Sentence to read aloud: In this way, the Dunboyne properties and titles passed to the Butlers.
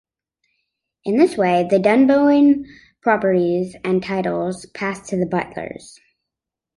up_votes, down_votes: 2, 0